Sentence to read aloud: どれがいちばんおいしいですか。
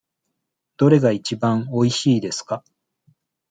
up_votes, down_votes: 2, 0